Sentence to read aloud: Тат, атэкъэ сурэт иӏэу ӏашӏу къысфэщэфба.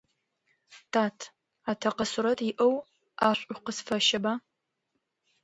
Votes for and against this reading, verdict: 0, 2, rejected